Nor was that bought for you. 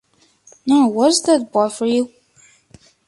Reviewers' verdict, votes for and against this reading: accepted, 2, 1